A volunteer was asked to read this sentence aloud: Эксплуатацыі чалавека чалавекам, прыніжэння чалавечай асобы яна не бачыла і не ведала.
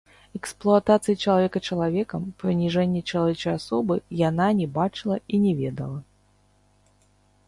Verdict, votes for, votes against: rejected, 0, 2